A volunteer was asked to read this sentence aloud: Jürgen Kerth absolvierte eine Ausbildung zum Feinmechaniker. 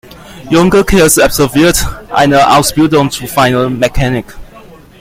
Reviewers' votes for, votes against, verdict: 0, 2, rejected